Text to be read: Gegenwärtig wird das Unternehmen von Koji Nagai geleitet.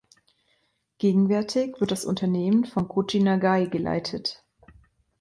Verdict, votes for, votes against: accepted, 2, 0